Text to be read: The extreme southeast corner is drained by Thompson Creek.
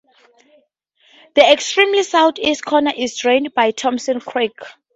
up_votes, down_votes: 0, 2